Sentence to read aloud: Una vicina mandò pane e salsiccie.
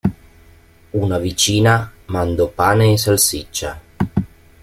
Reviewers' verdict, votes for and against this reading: rejected, 1, 2